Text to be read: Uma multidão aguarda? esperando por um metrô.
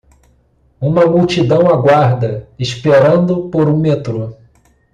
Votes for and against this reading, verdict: 2, 0, accepted